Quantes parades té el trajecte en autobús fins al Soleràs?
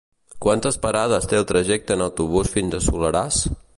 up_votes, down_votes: 1, 2